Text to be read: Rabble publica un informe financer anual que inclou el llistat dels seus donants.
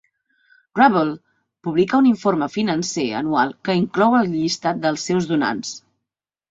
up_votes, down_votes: 5, 1